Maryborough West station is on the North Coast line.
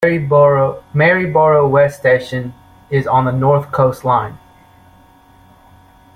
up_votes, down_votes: 1, 2